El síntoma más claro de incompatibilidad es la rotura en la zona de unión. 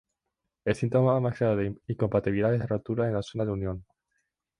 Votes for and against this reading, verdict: 2, 0, accepted